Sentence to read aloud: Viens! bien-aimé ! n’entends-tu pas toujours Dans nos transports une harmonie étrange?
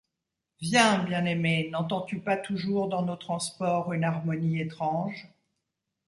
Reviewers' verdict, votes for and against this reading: accepted, 2, 0